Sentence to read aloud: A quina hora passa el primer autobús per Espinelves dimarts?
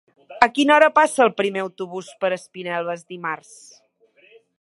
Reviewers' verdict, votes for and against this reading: accepted, 2, 0